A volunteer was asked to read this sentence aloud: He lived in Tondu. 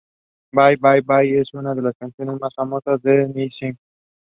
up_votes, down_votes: 0, 2